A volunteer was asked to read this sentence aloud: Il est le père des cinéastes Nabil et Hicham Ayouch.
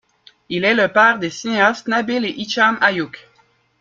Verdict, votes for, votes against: accepted, 2, 0